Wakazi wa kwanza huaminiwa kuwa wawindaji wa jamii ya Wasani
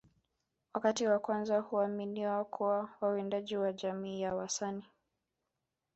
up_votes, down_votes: 1, 2